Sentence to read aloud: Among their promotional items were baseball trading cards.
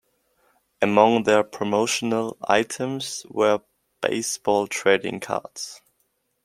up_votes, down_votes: 3, 0